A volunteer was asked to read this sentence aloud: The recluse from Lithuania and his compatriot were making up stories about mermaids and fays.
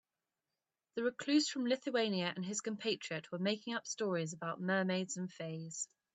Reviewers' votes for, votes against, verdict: 2, 0, accepted